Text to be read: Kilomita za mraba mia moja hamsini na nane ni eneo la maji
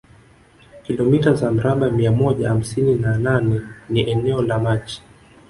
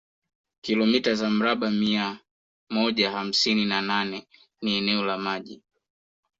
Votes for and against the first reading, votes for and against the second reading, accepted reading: 1, 2, 2, 0, second